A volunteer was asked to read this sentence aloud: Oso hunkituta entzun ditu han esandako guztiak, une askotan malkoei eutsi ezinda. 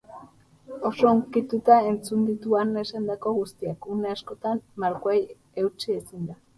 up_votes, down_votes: 4, 0